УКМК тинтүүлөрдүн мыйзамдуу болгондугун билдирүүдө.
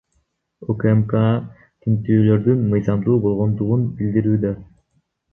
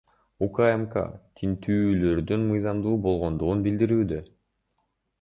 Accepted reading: second